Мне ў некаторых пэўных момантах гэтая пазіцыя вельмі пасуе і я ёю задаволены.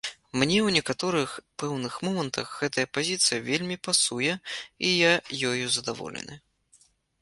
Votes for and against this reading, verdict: 3, 0, accepted